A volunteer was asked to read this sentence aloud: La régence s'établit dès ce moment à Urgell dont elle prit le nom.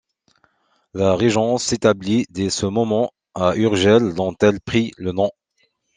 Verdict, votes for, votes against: accepted, 2, 0